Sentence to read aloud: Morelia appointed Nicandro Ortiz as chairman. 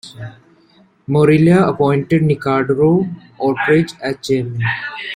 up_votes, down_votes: 2, 0